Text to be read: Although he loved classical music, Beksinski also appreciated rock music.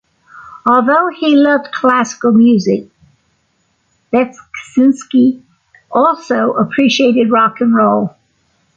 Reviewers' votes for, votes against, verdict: 0, 2, rejected